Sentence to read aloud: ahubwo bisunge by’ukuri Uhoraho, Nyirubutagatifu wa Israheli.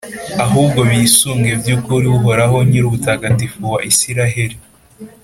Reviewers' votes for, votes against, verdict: 3, 0, accepted